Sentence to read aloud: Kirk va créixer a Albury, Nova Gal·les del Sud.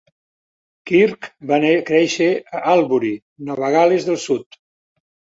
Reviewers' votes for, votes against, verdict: 0, 2, rejected